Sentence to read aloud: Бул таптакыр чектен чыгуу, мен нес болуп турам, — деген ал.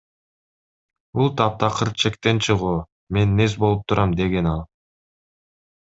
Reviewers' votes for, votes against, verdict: 2, 0, accepted